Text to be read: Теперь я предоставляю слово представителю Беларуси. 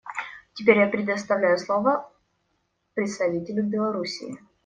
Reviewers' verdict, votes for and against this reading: rejected, 0, 2